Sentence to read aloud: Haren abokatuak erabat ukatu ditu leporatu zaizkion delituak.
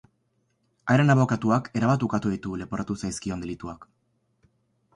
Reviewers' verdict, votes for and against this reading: accepted, 2, 0